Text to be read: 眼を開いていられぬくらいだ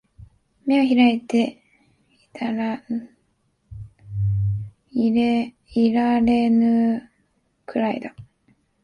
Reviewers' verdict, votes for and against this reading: rejected, 0, 2